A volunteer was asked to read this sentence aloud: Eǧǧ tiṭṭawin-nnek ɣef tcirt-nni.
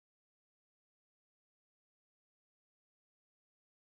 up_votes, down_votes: 0, 2